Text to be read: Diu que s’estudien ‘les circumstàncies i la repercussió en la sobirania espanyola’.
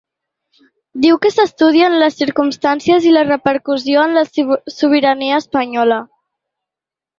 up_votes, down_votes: 1, 2